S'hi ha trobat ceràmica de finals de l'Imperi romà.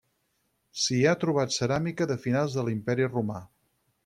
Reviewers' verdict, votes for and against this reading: accepted, 4, 0